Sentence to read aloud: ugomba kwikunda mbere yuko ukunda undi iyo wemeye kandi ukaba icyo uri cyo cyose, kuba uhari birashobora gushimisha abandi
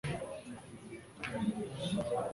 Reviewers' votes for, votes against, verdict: 0, 2, rejected